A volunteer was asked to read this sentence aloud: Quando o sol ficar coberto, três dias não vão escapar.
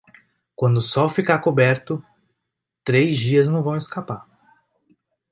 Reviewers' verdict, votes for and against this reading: accepted, 2, 0